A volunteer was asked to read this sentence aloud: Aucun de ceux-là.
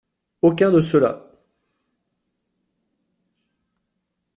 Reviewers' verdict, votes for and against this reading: accepted, 2, 0